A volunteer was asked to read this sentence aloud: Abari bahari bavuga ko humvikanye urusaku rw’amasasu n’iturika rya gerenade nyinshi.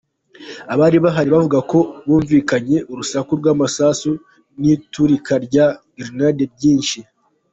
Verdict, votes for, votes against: accepted, 2, 1